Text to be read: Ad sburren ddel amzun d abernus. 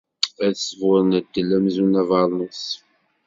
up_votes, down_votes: 2, 0